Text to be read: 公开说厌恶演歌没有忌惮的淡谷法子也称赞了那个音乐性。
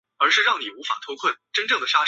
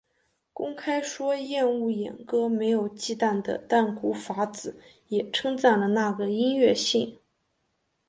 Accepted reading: second